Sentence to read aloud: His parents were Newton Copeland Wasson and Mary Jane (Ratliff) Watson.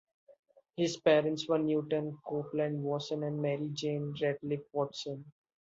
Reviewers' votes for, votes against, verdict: 2, 0, accepted